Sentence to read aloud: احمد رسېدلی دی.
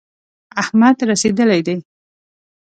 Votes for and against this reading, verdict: 2, 0, accepted